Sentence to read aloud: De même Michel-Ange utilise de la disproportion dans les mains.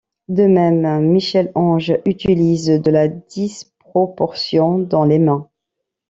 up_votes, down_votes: 1, 2